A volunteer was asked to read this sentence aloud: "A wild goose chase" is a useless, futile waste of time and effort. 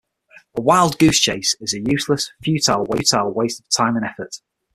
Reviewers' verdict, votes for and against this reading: rejected, 0, 6